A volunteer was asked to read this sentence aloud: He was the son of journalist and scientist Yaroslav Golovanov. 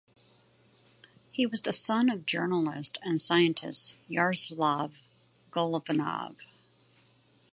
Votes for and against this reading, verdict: 2, 0, accepted